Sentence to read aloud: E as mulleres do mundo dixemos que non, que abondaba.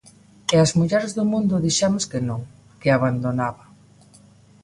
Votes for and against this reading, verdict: 0, 3, rejected